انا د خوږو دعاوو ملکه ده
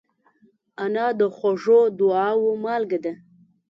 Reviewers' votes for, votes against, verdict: 0, 2, rejected